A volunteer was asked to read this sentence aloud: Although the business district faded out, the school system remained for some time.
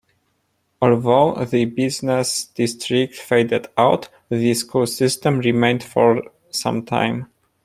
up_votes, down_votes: 2, 1